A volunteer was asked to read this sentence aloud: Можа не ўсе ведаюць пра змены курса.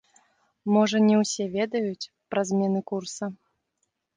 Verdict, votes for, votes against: accepted, 2, 0